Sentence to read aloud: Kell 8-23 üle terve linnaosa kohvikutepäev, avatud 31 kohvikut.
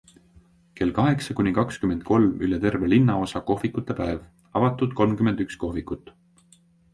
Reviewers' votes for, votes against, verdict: 0, 2, rejected